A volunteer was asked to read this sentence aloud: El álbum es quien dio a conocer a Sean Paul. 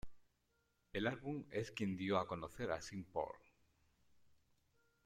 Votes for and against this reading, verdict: 0, 2, rejected